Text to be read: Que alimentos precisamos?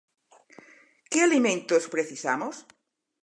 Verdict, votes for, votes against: accepted, 4, 0